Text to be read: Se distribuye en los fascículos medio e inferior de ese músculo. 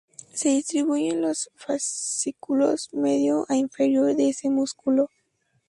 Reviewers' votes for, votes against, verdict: 2, 4, rejected